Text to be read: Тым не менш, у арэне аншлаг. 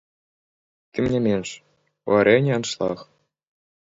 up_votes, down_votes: 0, 2